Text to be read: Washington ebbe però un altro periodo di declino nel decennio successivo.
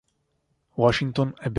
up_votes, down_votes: 0, 2